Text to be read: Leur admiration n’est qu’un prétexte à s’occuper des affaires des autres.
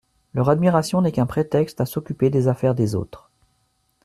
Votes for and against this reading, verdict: 2, 0, accepted